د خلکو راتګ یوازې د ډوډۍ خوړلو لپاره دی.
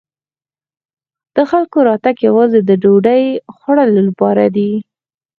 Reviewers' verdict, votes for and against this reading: rejected, 2, 4